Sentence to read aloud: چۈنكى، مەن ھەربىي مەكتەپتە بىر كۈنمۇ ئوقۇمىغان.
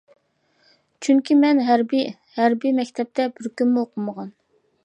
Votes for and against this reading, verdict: 0, 2, rejected